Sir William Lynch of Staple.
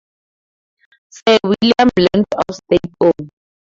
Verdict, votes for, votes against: rejected, 2, 4